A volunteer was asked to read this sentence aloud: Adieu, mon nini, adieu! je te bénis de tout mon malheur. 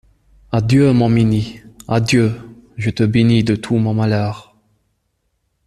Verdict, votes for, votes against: rejected, 1, 2